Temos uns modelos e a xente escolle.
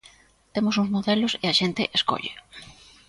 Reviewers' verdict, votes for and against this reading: accepted, 2, 0